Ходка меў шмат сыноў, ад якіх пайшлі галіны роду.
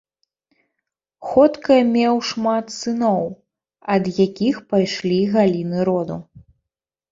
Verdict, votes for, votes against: accepted, 2, 0